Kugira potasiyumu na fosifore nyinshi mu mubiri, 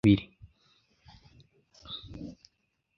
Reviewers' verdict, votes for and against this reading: rejected, 0, 2